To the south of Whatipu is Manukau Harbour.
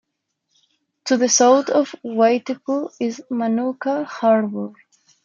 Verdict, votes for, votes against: rejected, 0, 2